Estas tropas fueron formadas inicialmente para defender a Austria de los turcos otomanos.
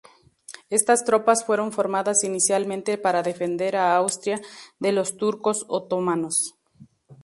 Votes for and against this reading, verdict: 2, 0, accepted